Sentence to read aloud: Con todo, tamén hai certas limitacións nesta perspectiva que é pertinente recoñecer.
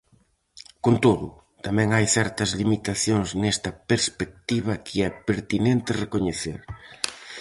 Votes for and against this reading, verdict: 4, 0, accepted